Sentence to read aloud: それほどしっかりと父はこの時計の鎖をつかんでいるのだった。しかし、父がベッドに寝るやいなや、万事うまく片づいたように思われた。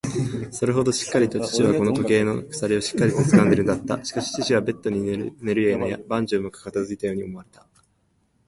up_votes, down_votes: 1, 2